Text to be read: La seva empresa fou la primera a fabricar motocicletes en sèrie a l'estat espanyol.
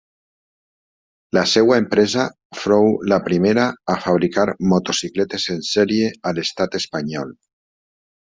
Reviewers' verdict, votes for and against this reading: accepted, 2, 1